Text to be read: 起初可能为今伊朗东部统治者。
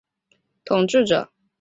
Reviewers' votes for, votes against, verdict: 0, 2, rejected